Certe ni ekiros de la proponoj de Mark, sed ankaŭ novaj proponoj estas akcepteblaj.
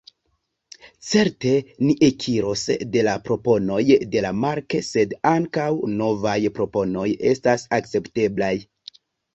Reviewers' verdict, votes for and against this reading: accepted, 2, 1